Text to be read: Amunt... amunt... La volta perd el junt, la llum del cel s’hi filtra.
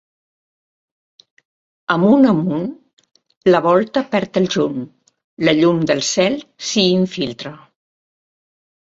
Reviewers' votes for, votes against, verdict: 1, 2, rejected